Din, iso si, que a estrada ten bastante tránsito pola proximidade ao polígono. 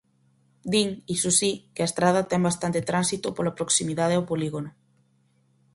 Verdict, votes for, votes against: accepted, 4, 0